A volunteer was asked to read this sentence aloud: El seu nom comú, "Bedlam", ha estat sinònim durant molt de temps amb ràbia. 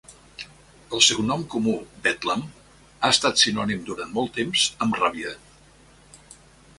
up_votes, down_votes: 0, 2